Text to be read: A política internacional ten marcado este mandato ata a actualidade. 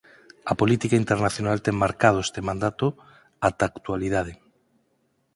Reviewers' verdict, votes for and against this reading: accepted, 4, 0